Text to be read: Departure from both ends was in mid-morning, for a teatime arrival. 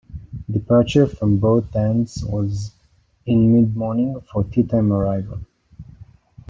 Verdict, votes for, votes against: accepted, 2, 0